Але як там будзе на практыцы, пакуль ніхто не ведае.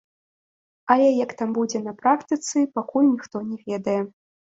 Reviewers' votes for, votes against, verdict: 2, 0, accepted